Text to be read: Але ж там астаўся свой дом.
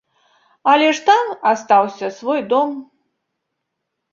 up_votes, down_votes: 2, 0